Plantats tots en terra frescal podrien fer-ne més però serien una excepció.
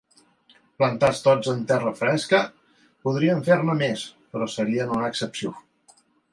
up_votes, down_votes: 0, 2